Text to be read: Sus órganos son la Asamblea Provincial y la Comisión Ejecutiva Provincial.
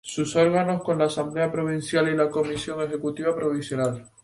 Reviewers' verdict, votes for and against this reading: rejected, 0, 2